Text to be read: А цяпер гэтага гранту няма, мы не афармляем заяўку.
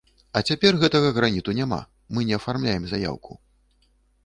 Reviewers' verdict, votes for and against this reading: rejected, 1, 2